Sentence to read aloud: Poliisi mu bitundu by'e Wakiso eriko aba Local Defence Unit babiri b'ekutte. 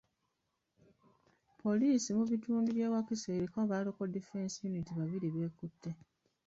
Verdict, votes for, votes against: rejected, 0, 2